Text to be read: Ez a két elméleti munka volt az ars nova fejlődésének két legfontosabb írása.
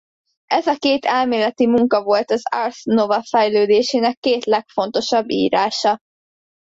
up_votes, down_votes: 2, 0